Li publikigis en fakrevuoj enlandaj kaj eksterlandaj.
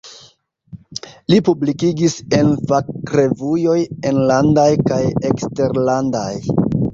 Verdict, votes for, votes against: rejected, 1, 2